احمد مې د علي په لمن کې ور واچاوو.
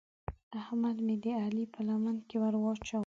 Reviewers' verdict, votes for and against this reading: accepted, 2, 1